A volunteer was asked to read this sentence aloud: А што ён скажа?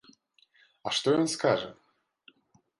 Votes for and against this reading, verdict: 2, 0, accepted